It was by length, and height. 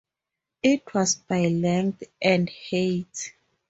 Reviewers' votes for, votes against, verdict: 2, 0, accepted